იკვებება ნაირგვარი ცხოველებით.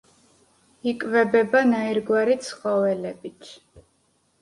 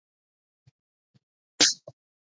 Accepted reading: first